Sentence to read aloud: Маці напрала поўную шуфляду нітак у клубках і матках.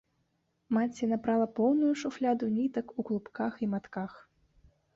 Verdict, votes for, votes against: accepted, 2, 0